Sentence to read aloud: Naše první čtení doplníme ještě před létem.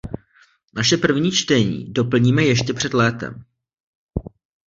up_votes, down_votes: 1, 2